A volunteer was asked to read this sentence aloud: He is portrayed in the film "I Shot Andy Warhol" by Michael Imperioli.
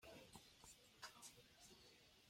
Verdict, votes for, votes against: rejected, 0, 2